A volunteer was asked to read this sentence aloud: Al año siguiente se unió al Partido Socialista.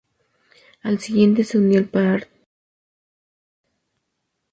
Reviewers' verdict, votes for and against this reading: rejected, 0, 2